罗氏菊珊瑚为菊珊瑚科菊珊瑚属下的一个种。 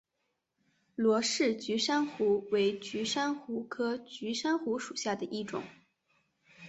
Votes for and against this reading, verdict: 1, 2, rejected